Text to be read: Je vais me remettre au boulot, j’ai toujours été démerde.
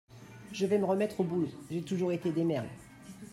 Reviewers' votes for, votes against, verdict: 0, 2, rejected